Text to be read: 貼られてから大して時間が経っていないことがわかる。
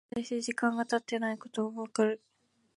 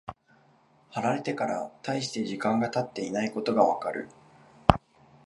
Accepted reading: second